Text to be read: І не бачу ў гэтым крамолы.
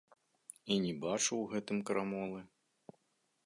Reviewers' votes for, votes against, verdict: 2, 0, accepted